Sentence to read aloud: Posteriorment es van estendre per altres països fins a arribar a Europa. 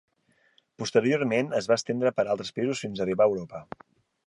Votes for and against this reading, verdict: 0, 2, rejected